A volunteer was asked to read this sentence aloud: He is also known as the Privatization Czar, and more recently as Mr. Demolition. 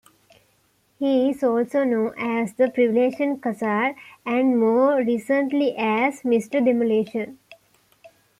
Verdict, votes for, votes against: rejected, 0, 2